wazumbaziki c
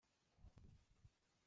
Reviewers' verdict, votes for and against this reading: rejected, 0, 2